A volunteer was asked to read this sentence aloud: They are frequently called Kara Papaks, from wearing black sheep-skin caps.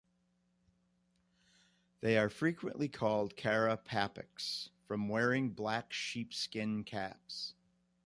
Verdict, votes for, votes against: accepted, 2, 0